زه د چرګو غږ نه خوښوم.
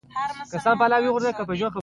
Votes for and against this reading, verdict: 2, 1, accepted